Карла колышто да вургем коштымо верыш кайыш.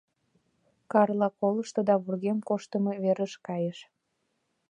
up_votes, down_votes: 2, 0